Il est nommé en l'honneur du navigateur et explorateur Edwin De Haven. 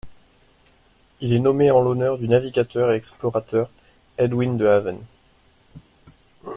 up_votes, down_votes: 1, 2